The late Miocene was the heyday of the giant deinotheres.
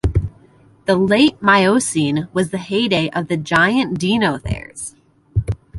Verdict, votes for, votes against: accepted, 2, 0